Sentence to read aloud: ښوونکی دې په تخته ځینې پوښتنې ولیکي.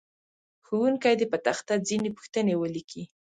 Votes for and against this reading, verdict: 2, 0, accepted